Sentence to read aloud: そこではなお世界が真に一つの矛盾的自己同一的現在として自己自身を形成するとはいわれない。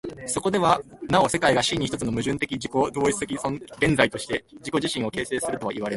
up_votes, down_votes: 0, 2